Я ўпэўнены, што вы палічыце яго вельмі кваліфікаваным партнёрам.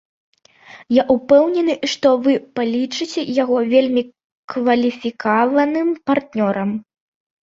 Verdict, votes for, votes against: rejected, 1, 2